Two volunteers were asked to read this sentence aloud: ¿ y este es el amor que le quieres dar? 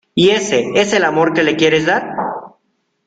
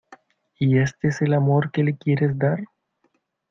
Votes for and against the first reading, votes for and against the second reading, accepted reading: 0, 2, 2, 0, second